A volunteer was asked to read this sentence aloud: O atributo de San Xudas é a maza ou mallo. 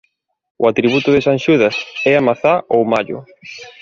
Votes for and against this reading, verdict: 0, 2, rejected